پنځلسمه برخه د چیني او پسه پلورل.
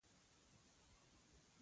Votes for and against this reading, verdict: 0, 2, rejected